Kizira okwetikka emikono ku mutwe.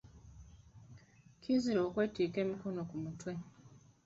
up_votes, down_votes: 1, 2